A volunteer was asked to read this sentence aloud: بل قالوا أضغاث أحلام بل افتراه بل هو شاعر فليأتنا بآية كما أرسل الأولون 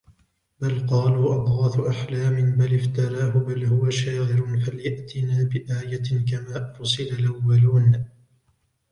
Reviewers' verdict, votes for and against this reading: accepted, 2, 0